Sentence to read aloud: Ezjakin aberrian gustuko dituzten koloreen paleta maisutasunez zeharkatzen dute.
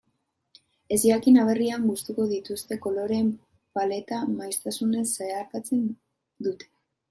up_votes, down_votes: 0, 2